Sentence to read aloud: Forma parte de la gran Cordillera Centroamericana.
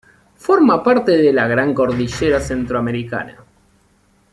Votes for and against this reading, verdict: 2, 0, accepted